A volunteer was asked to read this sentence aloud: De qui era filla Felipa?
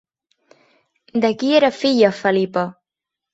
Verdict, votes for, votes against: accepted, 3, 0